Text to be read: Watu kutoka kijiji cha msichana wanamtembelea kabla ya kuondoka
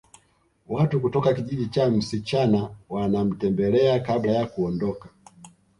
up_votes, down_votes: 3, 0